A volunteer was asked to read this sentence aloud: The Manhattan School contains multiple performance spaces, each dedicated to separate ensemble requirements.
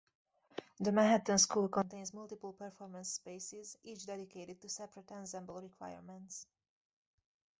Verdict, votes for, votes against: rejected, 2, 2